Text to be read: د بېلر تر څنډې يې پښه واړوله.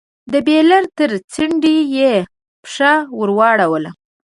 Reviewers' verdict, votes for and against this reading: rejected, 1, 2